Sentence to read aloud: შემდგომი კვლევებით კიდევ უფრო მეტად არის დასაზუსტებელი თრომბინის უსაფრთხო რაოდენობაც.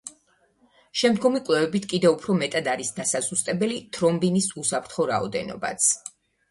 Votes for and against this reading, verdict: 2, 1, accepted